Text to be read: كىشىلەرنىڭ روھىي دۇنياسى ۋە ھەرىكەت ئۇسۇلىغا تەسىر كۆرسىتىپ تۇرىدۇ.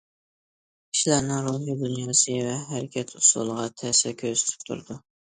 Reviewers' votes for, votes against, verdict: 2, 0, accepted